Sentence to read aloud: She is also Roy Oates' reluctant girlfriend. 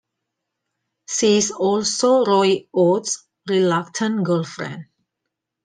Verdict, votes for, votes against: rejected, 1, 2